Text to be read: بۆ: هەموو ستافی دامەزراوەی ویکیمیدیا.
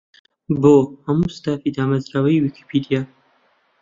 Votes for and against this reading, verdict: 1, 2, rejected